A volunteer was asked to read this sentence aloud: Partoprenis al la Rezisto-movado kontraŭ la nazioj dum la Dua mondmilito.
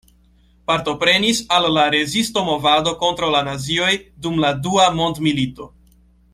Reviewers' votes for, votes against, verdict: 2, 1, accepted